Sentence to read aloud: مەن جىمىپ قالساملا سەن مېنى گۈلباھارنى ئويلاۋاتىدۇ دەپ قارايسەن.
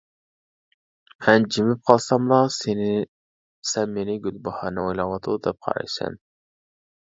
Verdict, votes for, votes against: rejected, 0, 2